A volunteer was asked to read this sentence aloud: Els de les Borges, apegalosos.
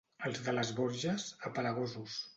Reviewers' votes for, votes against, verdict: 1, 2, rejected